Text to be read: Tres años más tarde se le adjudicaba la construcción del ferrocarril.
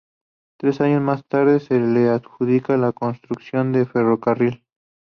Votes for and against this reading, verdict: 0, 4, rejected